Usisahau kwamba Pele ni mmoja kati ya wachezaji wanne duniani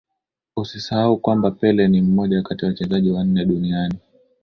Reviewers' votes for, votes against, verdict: 3, 0, accepted